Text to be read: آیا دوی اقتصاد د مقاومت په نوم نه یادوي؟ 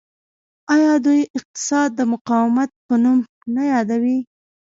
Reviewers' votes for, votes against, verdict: 0, 2, rejected